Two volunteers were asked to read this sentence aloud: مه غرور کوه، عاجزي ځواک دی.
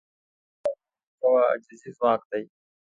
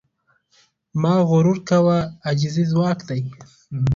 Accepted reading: second